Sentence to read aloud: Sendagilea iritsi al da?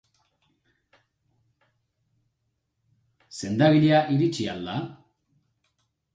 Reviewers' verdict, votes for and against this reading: accepted, 2, 0